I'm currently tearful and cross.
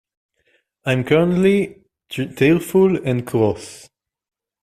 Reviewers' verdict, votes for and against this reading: rejected, 1, 2